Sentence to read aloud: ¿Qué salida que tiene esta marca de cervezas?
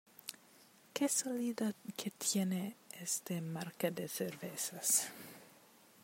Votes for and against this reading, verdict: 1, 2, rejected